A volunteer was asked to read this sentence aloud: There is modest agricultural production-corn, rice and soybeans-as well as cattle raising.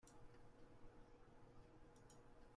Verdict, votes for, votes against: rejected, 0, 2